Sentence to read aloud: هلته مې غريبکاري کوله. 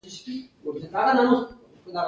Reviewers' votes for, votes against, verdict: 1, 2, rejected